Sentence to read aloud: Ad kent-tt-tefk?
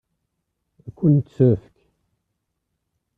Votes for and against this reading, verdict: 0, 2, rejected